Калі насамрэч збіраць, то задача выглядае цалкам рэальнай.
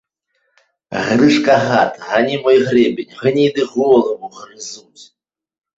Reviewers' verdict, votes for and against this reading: rejected, 0, 2